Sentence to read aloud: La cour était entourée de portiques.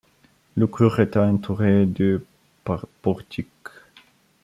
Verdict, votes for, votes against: rejected, 0, 2